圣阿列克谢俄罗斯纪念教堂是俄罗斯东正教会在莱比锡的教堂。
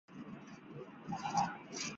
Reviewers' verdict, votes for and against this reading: rejected, 1, 5